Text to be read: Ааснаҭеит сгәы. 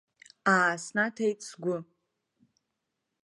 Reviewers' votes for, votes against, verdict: 2, 0, accepted